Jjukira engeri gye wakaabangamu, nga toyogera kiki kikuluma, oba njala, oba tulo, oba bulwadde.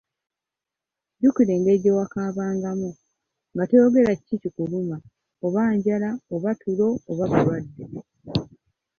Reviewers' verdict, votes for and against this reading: rejected, 1, 2